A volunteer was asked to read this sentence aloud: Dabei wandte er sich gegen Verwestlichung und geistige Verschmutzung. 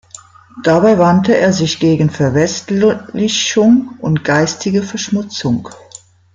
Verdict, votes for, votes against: rejected, 0, 2